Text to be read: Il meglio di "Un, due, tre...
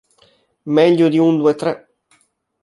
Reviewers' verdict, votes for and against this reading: rejected, 1, 2